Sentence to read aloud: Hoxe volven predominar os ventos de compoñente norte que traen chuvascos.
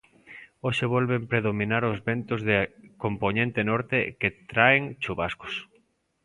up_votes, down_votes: 2, 0